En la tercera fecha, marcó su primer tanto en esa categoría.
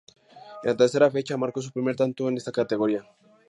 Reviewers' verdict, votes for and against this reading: accepted, 2, 0